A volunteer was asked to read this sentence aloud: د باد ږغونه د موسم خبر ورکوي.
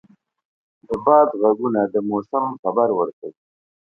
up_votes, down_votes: 2, 0